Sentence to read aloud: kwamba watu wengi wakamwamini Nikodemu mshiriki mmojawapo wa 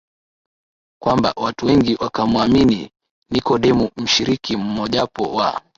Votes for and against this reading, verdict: 2, 0, accepted